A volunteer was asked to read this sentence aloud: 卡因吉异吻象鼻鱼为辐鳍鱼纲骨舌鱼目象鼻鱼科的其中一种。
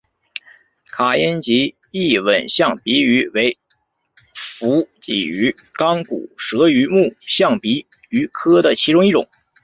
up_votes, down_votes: 3, 2